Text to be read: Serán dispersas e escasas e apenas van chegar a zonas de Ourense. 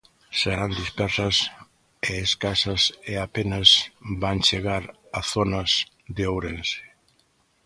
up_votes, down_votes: 2, 0